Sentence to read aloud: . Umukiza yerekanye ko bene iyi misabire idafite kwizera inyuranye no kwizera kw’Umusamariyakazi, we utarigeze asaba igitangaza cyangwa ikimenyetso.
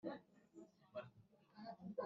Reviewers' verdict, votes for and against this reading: rejected, 1, 2